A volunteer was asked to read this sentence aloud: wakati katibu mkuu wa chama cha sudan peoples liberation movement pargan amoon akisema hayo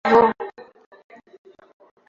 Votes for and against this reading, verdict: 0, 2, rejected